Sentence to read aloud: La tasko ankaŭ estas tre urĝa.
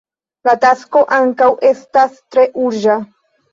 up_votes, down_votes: 2, 1